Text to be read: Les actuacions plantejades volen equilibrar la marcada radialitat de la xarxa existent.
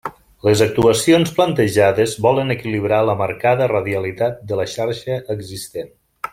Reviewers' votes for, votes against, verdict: 3, 0, accepted